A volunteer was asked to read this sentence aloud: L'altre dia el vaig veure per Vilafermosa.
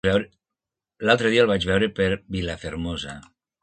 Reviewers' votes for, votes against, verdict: 1, 2, rejected